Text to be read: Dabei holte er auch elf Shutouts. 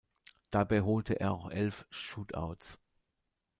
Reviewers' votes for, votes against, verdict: 1, 2, rejected